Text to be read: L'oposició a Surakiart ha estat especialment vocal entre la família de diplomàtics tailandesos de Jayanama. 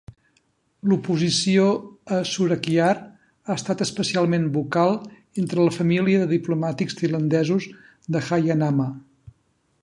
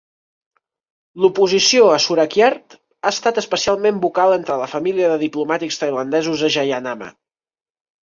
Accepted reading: first